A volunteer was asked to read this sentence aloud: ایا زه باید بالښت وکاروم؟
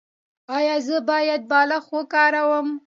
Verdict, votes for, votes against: accepted, 2, 0